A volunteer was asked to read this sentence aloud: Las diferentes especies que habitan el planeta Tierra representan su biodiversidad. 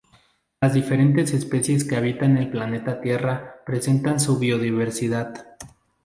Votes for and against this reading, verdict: 0, 2, rejected